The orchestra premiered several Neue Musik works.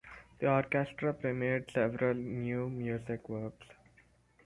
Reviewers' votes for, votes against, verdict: 2, 4, rejected